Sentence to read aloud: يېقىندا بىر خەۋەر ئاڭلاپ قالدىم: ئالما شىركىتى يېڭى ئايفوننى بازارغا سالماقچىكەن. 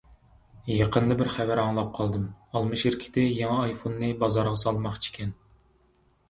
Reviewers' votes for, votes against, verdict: 2, 0, accepted